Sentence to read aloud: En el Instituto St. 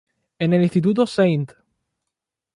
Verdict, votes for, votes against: accepted, 2, 0